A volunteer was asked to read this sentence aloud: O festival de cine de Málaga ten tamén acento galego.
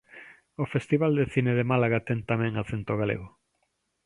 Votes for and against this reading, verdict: 2, 0, accepted